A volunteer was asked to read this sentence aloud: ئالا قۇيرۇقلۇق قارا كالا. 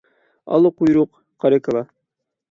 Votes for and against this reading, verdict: 0, 6, rejected